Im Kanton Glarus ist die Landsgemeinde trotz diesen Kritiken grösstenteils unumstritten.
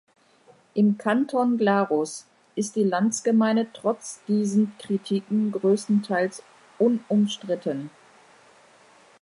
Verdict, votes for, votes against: accepted, 2, 0